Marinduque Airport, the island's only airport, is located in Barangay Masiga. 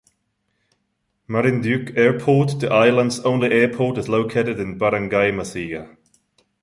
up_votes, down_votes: 1, 2